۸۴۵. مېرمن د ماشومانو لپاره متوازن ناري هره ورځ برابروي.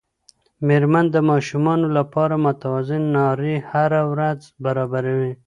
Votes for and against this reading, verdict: 0, 2, rejected